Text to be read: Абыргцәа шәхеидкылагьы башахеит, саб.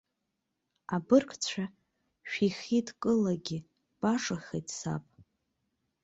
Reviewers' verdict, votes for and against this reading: rejected, 1, 2